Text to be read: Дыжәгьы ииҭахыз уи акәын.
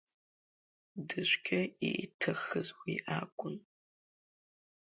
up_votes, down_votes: 0, 2